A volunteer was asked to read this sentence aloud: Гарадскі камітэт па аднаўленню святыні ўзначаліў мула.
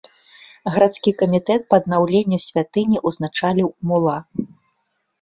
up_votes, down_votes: 3, 1